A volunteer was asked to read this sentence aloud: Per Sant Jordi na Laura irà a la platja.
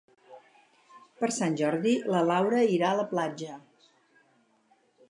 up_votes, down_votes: 0, 4